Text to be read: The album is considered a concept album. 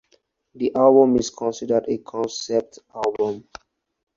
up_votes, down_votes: 4, 0